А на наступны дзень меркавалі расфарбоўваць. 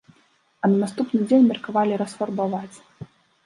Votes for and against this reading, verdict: 0, 2, rejected